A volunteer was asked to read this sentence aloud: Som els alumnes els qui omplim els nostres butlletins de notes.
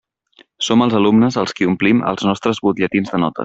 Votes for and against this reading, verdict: 0, 2, rejected